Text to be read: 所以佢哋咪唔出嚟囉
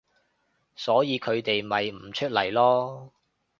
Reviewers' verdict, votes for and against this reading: accepted, 2, 0